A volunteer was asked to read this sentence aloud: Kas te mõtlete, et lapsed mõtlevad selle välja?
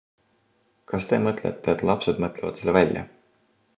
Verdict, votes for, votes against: accepted, 2, 0